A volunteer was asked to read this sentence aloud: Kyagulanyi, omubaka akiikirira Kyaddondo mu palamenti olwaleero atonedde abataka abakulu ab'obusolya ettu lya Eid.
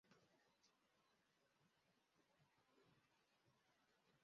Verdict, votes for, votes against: rejected, 0, 2